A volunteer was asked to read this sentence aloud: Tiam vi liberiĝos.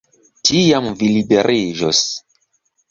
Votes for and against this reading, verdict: 2, 0, accepted